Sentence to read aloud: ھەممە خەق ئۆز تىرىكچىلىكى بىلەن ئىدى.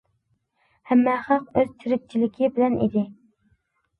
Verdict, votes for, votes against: accepted, 2, 0